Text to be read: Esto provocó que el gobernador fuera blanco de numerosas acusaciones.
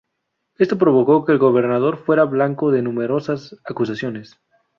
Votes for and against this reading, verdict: 2, 0, accepted